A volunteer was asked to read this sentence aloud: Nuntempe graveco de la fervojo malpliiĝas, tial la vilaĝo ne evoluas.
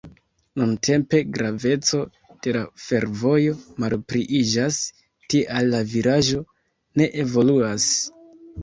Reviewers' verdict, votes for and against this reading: rejected, 1, 2